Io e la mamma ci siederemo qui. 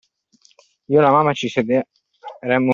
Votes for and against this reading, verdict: 0, 2, rejected